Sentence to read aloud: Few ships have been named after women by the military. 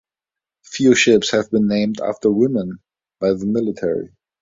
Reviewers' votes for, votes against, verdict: 2, 0, accepted